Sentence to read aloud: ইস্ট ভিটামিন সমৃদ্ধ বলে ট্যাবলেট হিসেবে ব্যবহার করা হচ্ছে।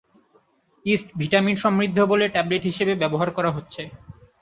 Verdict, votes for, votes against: accepted, 3, 0